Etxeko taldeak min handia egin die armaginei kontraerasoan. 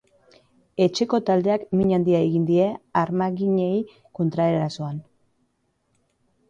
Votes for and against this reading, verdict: 2, 0, accepted